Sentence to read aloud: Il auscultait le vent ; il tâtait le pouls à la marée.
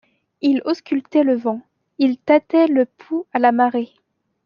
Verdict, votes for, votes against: accepted, 2, 0